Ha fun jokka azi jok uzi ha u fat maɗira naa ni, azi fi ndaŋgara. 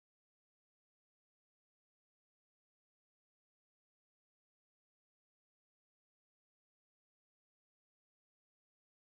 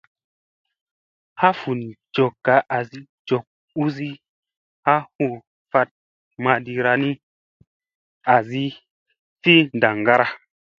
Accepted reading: second